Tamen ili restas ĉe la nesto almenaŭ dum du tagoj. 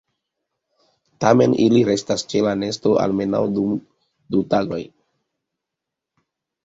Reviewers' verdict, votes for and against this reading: accepted, 2, 0